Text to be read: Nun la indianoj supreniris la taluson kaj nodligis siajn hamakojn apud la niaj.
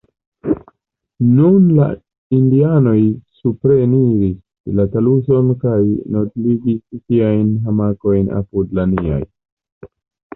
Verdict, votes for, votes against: accepted, 2, 0